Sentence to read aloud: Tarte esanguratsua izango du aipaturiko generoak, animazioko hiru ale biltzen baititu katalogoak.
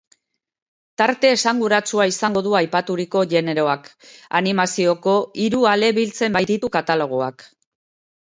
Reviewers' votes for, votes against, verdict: 2, 1, accepted